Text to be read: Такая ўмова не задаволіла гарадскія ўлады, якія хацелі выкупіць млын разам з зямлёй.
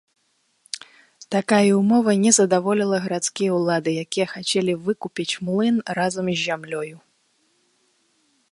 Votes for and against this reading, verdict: 1, 2, rejected